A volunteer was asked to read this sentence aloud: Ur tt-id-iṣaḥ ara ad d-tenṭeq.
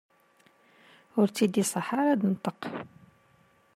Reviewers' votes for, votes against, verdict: 2, 0, accepted